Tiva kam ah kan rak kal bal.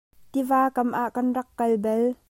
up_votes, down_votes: 2, 0